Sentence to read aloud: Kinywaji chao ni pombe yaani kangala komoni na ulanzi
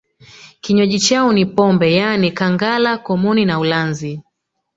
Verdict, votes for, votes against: rejected, 2, 3